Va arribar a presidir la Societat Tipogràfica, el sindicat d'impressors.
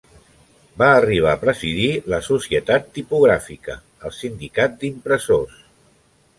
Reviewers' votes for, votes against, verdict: 3, 0, accepted